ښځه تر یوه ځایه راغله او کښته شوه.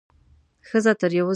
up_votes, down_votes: 0, 2